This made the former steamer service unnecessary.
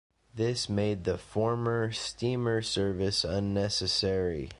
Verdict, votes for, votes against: accepted, 2, 0